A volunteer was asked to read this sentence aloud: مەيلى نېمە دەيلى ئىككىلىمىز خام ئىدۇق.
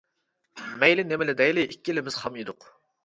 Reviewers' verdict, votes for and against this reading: rejected, 0, 2